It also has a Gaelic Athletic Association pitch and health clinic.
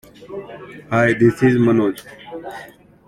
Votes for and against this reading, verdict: 0, 2, rejected